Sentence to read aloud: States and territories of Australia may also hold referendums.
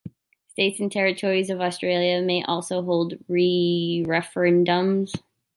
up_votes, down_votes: 0, 2